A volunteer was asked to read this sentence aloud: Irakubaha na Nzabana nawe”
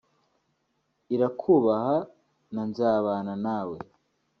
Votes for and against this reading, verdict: 1, 2, rejected